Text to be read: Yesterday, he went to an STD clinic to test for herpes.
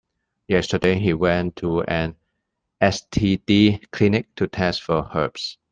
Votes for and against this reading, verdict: 0, 2, rejected